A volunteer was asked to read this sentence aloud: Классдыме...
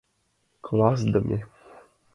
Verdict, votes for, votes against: accepted, 2, 0